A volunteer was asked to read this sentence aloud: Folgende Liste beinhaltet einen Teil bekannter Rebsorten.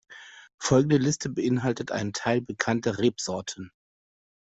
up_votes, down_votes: 2, 0